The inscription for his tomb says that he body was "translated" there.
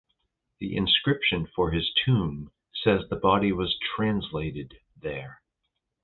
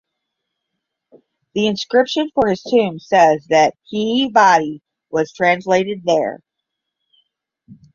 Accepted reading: first